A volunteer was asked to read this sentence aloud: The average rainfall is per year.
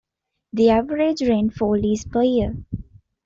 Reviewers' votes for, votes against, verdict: 3, 1, accepted